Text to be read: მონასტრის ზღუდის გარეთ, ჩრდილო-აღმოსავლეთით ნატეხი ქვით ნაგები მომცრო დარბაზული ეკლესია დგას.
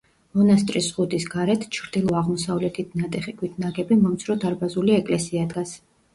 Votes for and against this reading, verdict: 2, 0, accepted